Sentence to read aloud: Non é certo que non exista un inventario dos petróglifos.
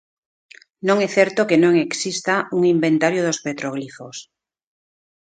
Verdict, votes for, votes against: rejected, 1, 2